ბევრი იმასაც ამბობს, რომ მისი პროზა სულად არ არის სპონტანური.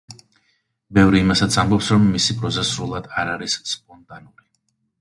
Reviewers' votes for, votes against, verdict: 2, 0, accepted